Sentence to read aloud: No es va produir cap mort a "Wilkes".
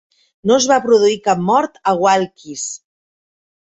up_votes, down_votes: 1, 2